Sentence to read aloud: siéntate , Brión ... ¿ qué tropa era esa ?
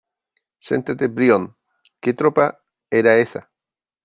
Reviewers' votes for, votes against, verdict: 2, 3, rejected